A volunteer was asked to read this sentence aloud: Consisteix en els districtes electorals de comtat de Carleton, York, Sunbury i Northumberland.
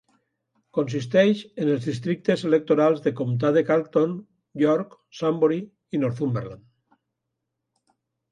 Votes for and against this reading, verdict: 2, 0, accepted